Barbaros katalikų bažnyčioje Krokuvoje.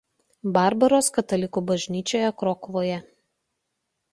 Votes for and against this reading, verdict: 2, 0, accepted